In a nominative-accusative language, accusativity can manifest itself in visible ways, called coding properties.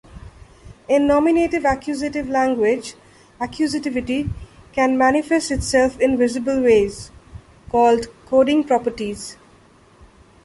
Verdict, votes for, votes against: accepted, 2, 1